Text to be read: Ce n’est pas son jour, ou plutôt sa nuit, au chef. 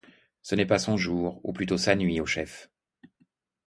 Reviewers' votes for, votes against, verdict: 2, 0, accepted